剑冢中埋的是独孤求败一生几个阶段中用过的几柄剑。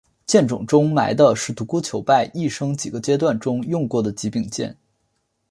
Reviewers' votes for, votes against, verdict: 2, 2, rejected